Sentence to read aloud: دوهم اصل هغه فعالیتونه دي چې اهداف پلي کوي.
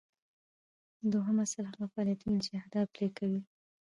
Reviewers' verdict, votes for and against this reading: accepted, 2, 1